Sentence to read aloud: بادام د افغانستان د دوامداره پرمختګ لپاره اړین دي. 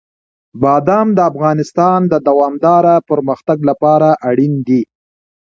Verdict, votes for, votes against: accepted, 2, 1